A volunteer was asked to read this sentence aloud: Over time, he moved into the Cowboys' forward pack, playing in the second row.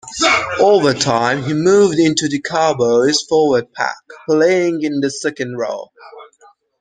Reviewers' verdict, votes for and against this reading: rejected, 0, 2